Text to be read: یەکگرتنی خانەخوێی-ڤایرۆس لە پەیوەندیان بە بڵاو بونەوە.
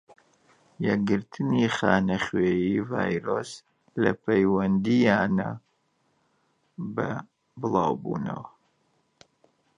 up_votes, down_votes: 0, 2